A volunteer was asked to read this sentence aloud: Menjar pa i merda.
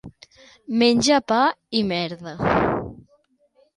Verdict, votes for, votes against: rejected, 1, 2